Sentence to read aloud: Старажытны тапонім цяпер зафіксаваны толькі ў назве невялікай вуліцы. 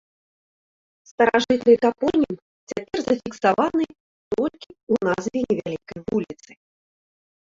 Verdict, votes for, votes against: rejected, 0, 2